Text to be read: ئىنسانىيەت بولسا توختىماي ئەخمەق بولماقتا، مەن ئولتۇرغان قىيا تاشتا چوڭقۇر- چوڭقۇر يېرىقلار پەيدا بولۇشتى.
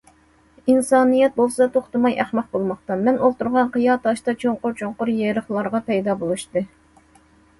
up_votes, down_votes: 1, 2